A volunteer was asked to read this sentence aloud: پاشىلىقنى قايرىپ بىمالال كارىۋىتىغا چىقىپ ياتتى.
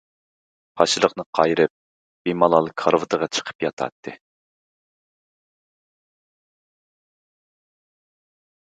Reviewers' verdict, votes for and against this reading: rejected, 0, 2